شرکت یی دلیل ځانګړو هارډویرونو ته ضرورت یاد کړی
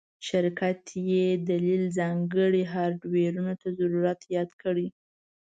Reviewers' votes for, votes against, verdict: 2, 0, accepted